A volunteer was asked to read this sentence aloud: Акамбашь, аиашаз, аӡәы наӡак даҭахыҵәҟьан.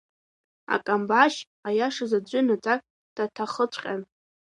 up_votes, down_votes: 0, 2